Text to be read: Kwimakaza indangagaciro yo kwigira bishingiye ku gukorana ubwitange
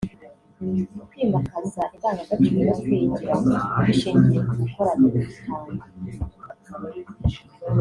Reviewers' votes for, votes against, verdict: 1, 2, rejected